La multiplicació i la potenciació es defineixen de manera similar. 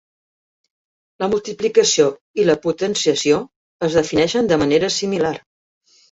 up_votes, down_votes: 3, 0